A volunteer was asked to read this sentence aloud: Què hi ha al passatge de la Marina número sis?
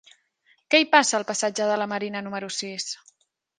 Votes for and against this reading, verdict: 0, 2, rejected